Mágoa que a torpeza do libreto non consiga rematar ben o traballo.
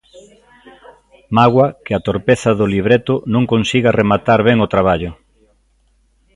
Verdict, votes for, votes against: rejected, 1, 2